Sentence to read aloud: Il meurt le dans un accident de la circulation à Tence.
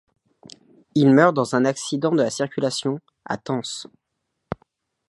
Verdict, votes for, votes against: rejected, 1, 2